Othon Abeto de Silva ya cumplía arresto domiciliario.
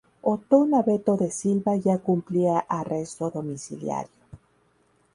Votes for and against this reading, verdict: 0, 2, rejected